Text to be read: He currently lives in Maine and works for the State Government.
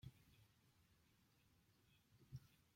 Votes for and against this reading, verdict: 0, 2, rejected